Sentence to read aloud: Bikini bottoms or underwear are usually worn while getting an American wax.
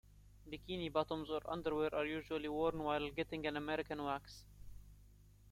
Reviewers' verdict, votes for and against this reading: accepted, 2, 1